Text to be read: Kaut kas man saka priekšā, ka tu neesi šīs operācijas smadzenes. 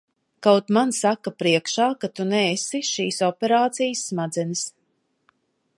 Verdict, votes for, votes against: rejected, 0, 2